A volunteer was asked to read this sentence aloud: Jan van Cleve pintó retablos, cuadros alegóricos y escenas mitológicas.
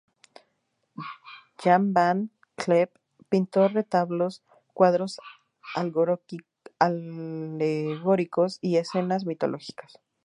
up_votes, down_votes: 0, 4